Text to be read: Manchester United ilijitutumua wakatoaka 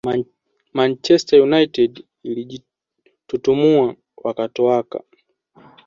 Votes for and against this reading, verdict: 2, 0, accepted